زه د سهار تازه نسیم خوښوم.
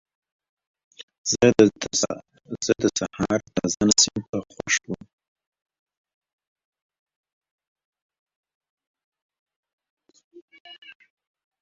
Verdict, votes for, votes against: rejected, 0, 2